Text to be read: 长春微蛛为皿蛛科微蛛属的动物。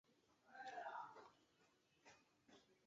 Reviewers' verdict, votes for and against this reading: rejected, 0, 3